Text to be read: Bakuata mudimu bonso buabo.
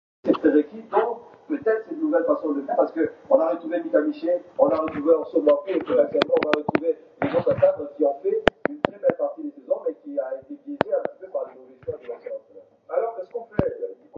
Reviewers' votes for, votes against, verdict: 0, 2, rejected